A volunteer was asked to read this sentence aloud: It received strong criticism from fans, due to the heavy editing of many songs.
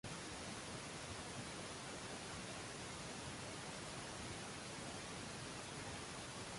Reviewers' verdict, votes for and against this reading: rejected, 0, 2